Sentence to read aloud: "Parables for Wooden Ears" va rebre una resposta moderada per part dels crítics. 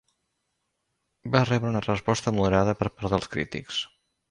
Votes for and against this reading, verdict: 0, 2, rejected